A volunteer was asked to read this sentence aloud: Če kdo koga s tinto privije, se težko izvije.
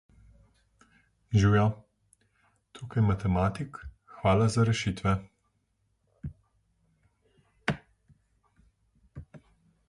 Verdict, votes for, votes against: rejected, 0, 2